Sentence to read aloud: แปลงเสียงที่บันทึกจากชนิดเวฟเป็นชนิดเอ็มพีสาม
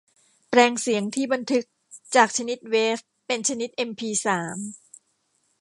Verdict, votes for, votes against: rejected, 1, 2